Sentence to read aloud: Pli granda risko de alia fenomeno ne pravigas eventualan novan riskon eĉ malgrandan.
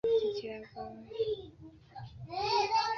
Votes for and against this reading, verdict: 0, 3, rejected